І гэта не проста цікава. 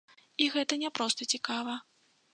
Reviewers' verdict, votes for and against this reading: accepted, 2, 0